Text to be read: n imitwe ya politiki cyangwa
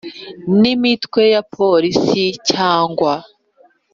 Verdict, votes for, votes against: rejected, 2, 3